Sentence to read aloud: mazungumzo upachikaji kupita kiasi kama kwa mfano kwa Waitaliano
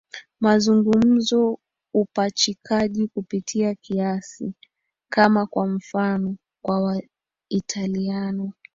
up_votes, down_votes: 2, 1